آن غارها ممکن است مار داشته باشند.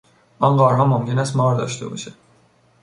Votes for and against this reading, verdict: 1, 2, rejected